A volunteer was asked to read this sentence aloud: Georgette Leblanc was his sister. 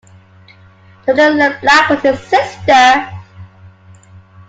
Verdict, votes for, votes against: rejected, 1, 2